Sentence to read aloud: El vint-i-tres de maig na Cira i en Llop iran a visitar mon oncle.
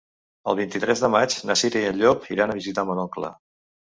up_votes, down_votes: 2, 0